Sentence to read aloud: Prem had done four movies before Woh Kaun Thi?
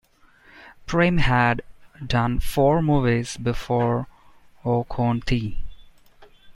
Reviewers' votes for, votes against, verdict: 2, 0, accepted